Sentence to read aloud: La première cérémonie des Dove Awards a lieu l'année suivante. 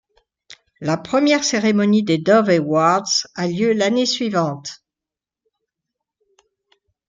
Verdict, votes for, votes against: accepted, 2, 0